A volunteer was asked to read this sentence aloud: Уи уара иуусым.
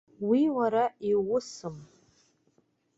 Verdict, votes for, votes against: accepted, 2, 0